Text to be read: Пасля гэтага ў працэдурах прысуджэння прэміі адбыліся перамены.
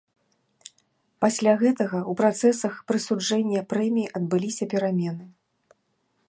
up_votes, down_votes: 0, 2